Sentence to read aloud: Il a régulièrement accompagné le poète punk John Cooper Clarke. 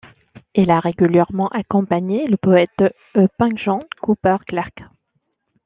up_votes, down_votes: 2, 1